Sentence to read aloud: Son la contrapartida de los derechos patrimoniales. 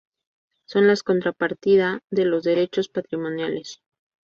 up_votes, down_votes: 2, 2